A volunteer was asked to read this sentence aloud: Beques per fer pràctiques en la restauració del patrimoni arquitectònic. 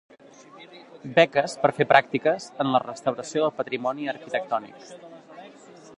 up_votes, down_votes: 2, 1